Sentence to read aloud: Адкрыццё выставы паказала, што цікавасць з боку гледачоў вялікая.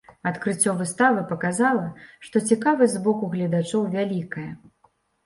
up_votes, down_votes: 2, 0